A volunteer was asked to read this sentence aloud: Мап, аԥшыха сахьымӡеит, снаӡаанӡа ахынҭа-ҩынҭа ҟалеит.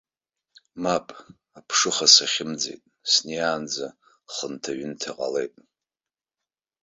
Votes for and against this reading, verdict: 0, 2, rejected